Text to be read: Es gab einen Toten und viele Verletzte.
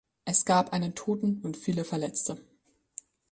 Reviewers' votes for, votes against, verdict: 3, 0, accepted